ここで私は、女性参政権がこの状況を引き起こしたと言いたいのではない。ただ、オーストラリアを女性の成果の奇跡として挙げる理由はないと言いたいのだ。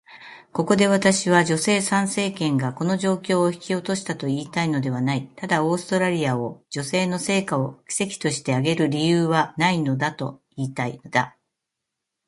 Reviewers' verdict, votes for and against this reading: rejected, 1, 2